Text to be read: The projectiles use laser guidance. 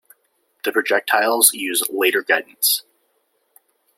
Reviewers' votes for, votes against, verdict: 1, 2, rejected